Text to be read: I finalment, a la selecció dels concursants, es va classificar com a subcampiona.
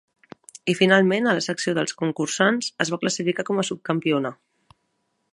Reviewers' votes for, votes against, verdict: 1, 2, rejected